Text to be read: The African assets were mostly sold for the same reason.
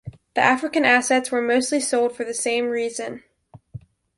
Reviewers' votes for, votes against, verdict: 2, 1, accepted